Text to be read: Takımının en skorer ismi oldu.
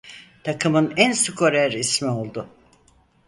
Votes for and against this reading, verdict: 2, 4, rejected